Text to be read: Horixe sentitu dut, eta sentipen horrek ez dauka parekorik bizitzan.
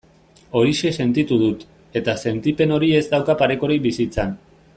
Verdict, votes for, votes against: rejected, 0, 2